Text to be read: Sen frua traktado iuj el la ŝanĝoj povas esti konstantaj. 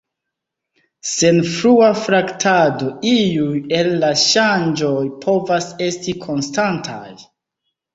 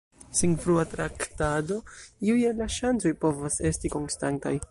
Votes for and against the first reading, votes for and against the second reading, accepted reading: 3, 1, 1, 2, first